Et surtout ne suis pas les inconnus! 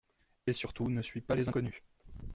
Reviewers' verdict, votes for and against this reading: accepted, 2, 0